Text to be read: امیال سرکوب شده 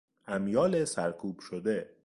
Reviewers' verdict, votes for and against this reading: accepted, 2, 0